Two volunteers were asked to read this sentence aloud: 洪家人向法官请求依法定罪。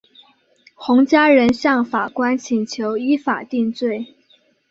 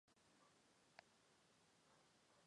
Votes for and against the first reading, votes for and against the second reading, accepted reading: 5, 0, 0, 2, first